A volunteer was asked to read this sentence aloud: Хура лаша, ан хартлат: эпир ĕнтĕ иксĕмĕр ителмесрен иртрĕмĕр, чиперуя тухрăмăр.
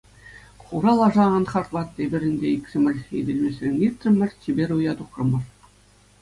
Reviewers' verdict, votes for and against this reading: accepted, 2, 0